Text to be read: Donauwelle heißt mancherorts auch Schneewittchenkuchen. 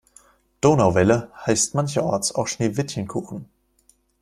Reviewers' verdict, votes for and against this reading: accepted, 2, 0